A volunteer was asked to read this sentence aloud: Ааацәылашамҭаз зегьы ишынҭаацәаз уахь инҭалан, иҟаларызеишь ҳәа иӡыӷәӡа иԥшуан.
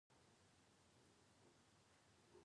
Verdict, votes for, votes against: rejected, 0, 3